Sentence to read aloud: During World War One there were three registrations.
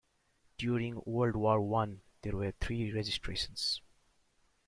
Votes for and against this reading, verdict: 2, 3, rejected